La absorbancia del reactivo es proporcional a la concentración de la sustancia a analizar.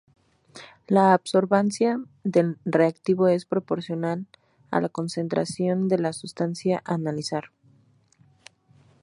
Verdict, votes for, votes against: rejected, 0, 2